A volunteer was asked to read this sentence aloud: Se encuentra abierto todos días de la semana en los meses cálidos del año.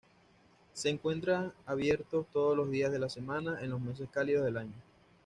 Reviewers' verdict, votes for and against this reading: rejected, 1, 2